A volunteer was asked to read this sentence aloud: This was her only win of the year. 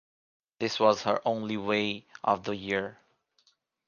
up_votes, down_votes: 1, 2